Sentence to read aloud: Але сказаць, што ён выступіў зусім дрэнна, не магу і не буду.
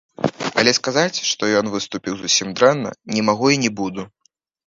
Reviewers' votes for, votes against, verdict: 0, 2, rejected